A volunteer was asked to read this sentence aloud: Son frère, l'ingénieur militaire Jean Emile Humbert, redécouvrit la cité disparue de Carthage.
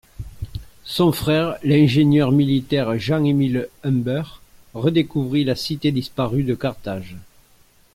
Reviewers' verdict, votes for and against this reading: accepted, 2, 0